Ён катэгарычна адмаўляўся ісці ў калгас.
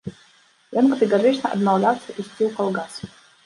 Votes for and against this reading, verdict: 0, 2, rejected